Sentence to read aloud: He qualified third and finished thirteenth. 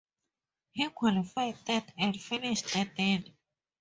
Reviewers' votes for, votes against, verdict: 0, 2, rejected